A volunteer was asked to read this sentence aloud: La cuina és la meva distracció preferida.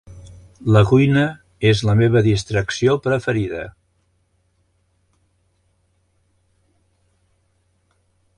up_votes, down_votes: 3, 0